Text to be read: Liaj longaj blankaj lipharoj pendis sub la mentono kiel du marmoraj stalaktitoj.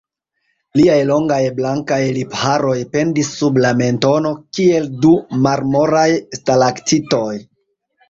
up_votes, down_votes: 2, 0